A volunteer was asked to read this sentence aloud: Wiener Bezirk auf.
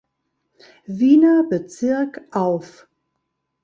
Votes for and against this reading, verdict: 2, 0, accepted